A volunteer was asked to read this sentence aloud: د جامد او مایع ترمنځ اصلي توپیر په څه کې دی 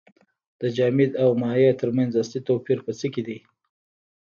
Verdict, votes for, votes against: rejected, 1, 2